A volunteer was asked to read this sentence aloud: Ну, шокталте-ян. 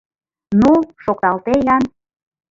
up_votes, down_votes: 2, 1